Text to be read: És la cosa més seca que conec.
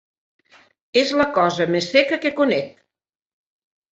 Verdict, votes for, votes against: accepted, 4, 0